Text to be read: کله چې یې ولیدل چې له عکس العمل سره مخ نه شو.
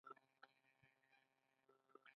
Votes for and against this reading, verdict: 2, 0, accepted